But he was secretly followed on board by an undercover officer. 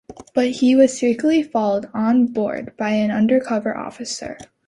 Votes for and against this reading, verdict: 2, 0, accepted